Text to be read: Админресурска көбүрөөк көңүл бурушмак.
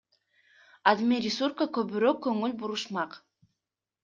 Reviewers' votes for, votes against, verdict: 1, 2, rejected